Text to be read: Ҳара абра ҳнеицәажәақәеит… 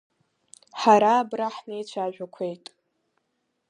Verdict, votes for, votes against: accepted, 3, 0